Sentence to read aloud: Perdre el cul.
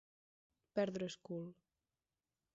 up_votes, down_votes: 0, 4